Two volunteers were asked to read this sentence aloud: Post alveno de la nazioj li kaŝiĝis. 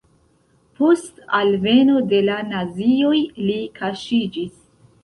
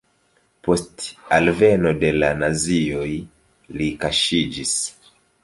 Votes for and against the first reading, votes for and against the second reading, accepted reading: 1, 2, 2, 1, second